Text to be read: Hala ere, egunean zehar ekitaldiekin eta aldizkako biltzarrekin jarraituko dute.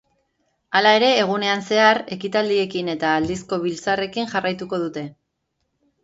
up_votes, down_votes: 0, 2